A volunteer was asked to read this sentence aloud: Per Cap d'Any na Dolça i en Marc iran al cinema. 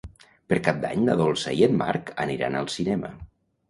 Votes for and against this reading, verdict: 0, 2, rejected